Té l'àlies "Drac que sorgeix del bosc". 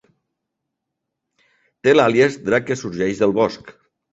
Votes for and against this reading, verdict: 4, 0, accepted